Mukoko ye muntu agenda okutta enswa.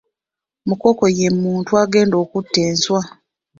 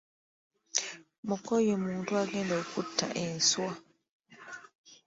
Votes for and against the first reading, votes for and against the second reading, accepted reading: 2, 0, 0, 3, first